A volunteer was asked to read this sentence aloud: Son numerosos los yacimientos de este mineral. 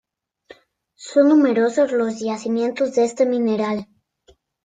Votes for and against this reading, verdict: 2, 0, accepted